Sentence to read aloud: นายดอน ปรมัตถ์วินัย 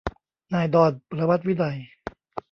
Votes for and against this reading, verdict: 1, 2, rejected